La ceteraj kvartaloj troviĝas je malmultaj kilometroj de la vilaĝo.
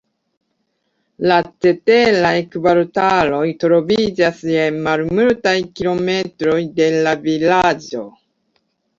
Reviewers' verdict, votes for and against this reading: accepted, 2, 0